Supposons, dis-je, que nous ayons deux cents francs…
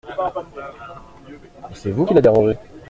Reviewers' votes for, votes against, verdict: 0, 2, rejected